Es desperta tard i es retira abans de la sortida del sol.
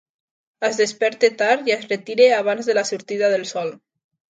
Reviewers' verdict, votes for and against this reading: accepted, 2, 0